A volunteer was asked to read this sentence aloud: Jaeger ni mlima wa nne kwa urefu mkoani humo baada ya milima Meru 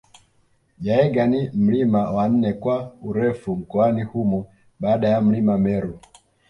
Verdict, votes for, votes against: accepted, 2, 0